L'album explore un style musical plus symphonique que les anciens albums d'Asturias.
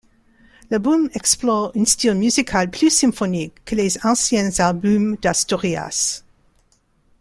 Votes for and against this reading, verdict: 2, 0, accepted